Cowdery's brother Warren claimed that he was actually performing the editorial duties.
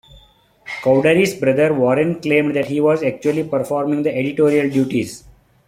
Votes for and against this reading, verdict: 1, 2, rejected